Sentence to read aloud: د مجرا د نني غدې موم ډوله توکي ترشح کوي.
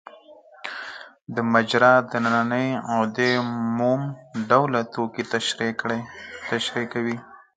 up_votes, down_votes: 4, 2